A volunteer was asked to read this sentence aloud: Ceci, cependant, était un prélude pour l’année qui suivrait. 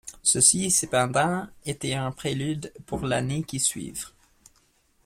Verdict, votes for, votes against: rejected, 1, 2